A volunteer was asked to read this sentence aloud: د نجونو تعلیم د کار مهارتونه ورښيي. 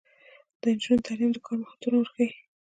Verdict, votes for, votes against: rejected, 0, 2